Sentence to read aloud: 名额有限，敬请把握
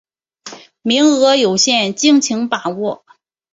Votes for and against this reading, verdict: 3, 0, accepted